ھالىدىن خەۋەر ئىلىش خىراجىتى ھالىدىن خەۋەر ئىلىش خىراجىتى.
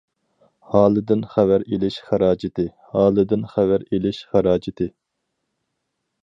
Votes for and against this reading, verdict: 0, 4, rejected